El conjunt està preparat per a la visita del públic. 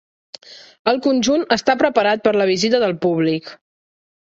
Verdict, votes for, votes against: accepted, 2, 0